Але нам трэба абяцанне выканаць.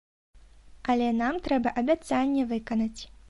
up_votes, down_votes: 2, 0